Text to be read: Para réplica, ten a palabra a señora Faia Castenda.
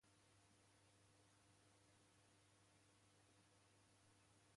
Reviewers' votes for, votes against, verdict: 0, 2, rejected